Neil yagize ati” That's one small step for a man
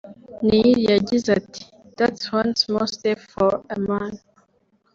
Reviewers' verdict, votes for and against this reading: rejected, 0, 2